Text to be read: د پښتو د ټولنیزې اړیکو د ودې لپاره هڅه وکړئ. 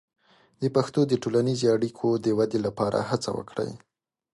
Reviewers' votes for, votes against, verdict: 2, 0, accepted